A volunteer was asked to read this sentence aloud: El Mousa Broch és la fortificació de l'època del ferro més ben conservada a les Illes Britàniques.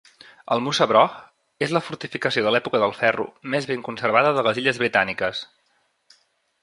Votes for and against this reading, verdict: 0, 2, rejected